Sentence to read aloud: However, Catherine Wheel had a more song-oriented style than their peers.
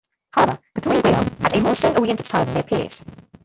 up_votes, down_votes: 1, 2